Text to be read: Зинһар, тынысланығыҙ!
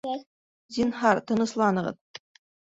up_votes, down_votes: 2, 0